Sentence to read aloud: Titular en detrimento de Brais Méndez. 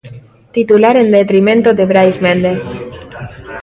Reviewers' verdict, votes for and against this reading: rejected, 0, 2